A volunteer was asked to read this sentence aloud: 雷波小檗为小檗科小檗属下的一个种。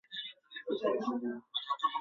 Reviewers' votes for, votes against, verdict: 1, 2, rejected